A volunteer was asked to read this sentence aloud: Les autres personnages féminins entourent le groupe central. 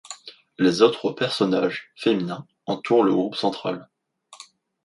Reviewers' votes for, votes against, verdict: 2, 1, accepted